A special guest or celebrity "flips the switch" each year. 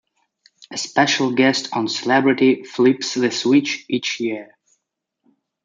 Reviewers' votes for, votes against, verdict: 2, 1, accepted